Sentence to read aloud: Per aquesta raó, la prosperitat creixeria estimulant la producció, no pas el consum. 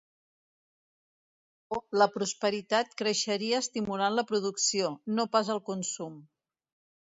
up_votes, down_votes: 0, 2